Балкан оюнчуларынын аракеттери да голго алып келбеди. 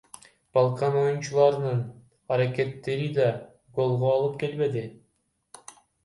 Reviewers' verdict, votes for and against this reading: rejected, 1, 2